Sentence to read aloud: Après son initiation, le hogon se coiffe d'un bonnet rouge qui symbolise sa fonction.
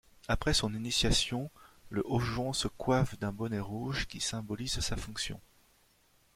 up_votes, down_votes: 1, 2